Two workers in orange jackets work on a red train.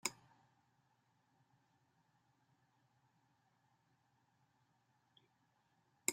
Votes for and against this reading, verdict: 0, 2, rejected